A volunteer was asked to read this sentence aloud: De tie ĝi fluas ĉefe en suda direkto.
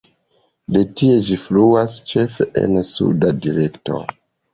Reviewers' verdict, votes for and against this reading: accepted, 2, 0